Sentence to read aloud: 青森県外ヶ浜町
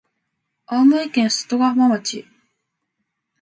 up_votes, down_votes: 2, 0